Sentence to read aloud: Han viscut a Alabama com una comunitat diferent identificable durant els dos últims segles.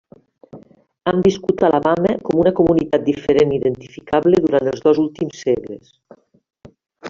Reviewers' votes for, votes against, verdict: 1, 2, rejected